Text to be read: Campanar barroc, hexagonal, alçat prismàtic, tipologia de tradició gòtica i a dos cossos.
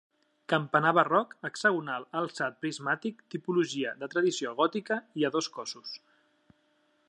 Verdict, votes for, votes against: accepted, 3, 0